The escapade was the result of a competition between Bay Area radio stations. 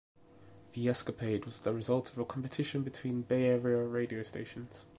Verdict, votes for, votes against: rejected, 1, 2